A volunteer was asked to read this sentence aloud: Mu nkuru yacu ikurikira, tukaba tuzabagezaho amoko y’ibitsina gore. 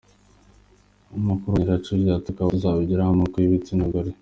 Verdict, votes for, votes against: accepted, 2, 1